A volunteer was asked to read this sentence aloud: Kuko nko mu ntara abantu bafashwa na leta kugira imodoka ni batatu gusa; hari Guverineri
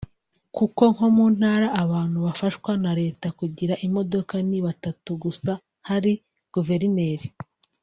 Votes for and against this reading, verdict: 4, 0, accepted